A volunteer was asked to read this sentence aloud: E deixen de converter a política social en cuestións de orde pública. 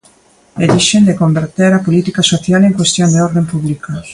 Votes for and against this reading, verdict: 1, 2, rejected